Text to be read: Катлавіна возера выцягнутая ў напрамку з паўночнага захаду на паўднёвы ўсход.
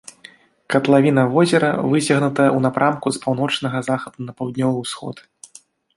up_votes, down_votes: 2, 0